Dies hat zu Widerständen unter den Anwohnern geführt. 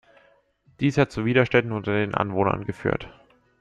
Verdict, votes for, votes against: accepted, 2, 0